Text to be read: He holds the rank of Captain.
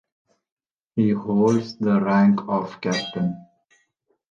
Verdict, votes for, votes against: accepted, 2, 0